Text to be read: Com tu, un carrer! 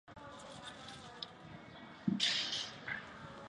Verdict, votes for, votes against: rejected, 1, 2